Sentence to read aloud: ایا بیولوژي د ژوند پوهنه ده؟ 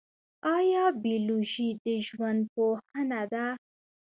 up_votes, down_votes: 1, 2